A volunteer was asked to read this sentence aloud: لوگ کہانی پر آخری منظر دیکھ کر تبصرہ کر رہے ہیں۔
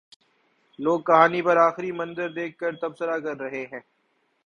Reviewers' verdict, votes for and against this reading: accepted, 2, 0